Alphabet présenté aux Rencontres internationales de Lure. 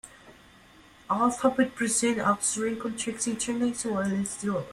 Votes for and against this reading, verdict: 0, 5, rejected